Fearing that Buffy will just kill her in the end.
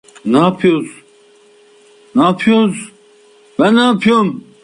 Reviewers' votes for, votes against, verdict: 0, 2, rejected